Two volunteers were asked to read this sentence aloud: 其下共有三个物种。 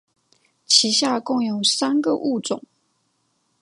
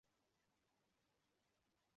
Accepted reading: first